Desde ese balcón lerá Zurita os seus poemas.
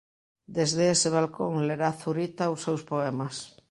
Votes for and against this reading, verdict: 3, 0, accepted